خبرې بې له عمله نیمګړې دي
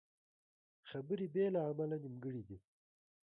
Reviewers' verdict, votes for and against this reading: rejected, 0, 2